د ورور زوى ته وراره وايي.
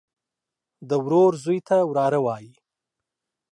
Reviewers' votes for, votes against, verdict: 2, 0, accepted